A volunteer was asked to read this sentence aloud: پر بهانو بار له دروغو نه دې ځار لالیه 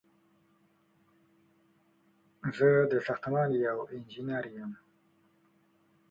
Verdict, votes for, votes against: rejected, 0, 2